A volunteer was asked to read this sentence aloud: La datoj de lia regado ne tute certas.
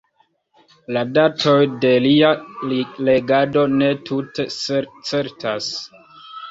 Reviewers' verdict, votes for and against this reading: accepted, 2, 0